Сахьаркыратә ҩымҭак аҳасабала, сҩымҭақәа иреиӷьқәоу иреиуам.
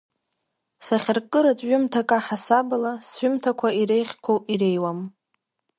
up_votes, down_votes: 0, 2